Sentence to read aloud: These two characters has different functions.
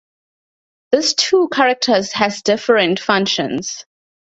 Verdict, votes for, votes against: rejected, 0, 2